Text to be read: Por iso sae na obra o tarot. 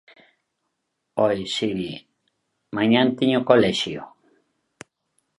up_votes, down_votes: 0, 2